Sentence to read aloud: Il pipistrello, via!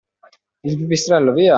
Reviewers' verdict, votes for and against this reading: accepted, 2, 1